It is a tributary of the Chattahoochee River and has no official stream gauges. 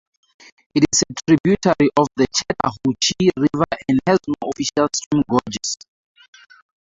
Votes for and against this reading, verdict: 4, 0, accepted